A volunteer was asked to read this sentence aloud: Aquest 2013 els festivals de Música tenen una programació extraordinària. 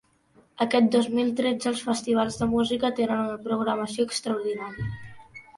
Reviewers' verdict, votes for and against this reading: rejected, 0, 2